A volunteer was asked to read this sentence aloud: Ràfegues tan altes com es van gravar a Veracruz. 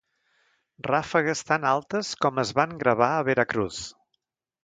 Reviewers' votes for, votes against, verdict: 0, 2, rejected